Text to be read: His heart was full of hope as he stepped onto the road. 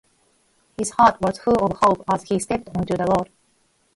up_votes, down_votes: 0, 4